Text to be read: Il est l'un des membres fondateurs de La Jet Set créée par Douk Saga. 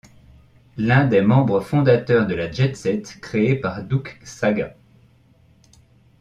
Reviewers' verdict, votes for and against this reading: rejected, 0, 2